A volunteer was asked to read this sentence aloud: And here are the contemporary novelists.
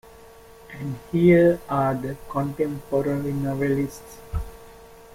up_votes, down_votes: 0, 2